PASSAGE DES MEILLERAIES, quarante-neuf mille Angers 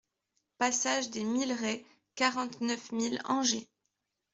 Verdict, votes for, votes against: accepted, 2, 1